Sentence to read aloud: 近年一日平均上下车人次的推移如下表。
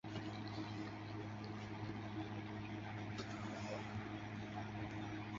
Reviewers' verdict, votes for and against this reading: rejected, 0, 3